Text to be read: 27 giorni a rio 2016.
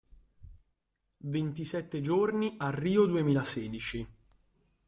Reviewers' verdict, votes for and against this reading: rejected, 0, 2